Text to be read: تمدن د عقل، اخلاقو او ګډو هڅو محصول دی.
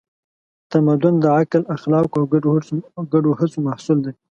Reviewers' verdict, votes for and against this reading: accepted, 2, 0